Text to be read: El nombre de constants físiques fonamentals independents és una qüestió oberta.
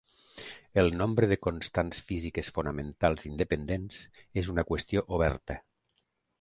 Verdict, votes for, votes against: accepted, 2, 0